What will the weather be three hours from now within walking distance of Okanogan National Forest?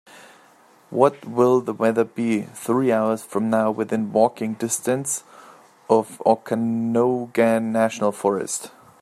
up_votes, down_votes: 2, 0